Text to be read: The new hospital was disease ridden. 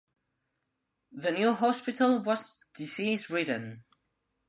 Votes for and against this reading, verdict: 2, 0, accepted